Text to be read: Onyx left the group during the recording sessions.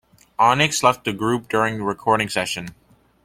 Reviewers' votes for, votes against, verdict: 0, 2, rejected